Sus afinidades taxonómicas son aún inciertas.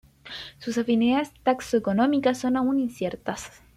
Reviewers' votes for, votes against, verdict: 1, 2, rejected